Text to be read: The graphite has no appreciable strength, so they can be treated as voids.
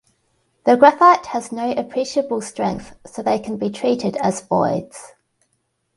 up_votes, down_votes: 2, 1